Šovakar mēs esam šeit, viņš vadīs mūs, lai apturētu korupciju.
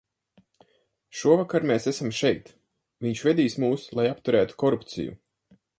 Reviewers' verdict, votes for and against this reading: rejected, 0, 6